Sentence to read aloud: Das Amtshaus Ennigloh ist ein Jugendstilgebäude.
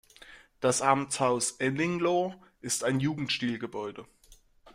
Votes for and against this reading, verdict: 2, 0, accepted